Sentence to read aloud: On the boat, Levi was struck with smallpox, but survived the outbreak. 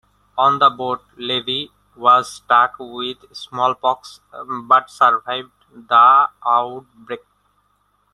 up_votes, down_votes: 1, 2